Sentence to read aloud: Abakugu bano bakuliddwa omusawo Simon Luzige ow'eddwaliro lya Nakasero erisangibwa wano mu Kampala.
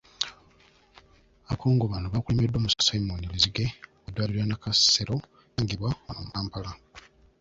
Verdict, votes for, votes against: rejected, 1, 2